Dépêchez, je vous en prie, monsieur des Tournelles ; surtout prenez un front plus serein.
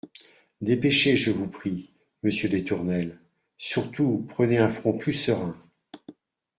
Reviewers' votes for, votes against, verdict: 2, 0, accepted